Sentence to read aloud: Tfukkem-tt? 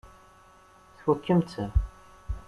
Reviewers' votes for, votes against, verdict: 2, 0, accepted